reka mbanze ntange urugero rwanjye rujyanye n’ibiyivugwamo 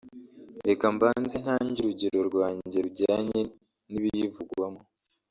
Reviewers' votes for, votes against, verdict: 1, 2, rejected